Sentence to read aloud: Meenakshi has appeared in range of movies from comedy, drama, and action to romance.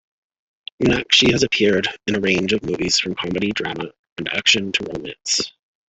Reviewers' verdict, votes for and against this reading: accepted, 2, 0